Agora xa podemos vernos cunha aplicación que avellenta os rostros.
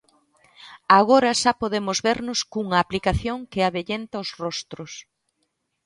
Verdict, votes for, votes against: accepted, 2, 0